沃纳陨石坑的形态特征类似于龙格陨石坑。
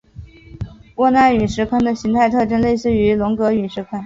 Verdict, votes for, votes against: accepted, 4, 0